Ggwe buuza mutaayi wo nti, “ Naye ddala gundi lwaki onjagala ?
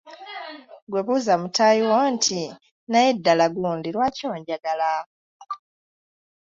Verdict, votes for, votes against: accepted, 2, 0